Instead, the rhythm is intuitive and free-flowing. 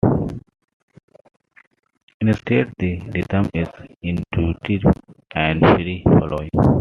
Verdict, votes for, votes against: accepted, 2, 1